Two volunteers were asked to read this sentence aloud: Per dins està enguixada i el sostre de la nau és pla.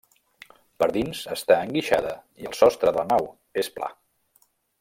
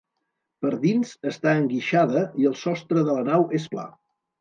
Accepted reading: second